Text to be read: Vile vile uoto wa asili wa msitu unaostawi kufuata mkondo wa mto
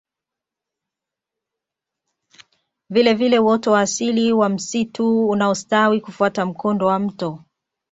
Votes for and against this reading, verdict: 2, 0, accepted